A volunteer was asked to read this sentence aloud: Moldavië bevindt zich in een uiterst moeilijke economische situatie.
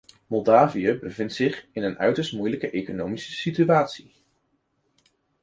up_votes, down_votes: 2, 0